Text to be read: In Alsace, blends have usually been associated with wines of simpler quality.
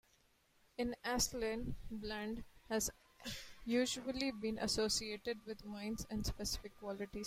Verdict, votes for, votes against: rejected, 0, 2